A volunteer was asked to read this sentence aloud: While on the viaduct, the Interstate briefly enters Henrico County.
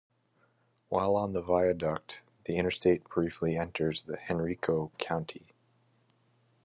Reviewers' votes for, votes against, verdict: 1, 2, rejected